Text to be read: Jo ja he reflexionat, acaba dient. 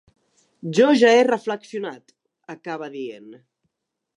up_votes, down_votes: 2, 0